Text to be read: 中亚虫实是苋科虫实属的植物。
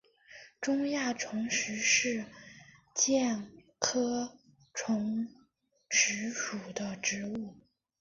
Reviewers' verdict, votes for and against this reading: rejected, 0, 2